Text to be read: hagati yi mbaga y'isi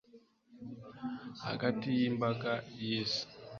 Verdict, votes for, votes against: accepted, 2, 0